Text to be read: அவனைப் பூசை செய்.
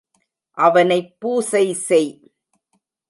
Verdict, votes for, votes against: rejected, 1, 2